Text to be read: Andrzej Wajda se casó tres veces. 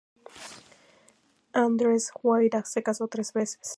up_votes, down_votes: 2, 0